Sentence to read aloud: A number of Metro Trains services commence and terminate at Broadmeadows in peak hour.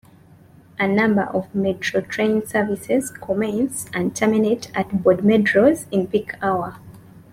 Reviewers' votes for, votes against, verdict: 0, 2, rejected